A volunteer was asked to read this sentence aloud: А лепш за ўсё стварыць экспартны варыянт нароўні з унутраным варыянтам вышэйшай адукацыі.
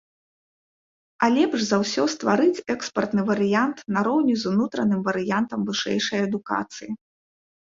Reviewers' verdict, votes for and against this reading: accepted, 2, 0